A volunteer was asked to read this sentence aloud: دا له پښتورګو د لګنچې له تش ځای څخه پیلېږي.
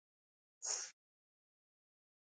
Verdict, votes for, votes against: rejected, 0, 2